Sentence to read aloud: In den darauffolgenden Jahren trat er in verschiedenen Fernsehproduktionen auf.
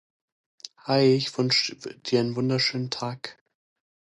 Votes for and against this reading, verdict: 0, 2, rejected